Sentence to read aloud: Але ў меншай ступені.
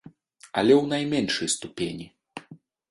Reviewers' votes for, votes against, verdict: 0, 2, rejected